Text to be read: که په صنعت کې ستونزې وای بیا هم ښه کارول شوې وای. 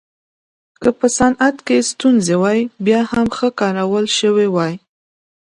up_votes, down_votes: 2, 0